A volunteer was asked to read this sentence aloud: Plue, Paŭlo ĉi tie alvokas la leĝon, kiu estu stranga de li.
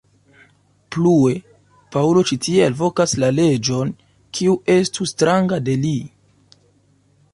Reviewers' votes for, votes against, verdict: 2, 0, accepted